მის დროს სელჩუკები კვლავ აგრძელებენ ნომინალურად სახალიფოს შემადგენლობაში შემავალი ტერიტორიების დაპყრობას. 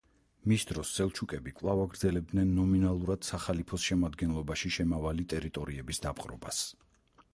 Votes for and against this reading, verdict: 2, 4, rejected